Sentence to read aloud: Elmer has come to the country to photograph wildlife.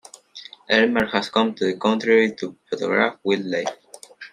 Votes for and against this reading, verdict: 1, 2, rejected